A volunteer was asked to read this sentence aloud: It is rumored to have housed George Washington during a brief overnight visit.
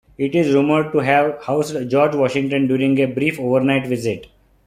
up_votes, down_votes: 1, 2